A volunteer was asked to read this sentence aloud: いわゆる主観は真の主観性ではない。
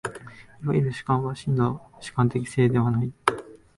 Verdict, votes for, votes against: rejected, 1, 2